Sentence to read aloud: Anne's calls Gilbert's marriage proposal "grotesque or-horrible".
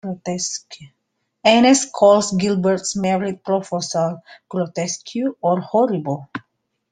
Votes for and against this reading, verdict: 1, 2, rejected